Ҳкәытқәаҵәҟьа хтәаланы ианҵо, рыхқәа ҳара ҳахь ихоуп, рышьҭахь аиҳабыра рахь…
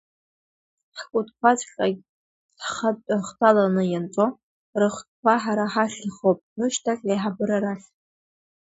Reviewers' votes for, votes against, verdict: 2, 1, accepted